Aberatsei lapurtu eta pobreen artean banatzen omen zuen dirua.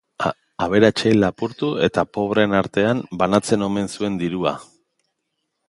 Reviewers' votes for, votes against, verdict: 3, 2, accepted